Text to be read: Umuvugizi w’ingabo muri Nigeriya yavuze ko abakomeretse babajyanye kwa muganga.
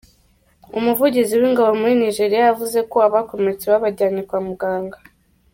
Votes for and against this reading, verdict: 2, 0, accepted